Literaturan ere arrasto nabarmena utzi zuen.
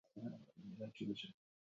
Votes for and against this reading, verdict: 0, 4, rejected